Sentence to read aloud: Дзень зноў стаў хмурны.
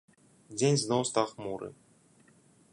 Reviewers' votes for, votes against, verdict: 1, 2, rejected